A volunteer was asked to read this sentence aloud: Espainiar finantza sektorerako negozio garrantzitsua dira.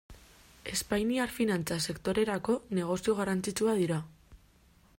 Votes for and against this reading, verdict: 2, 0, accepted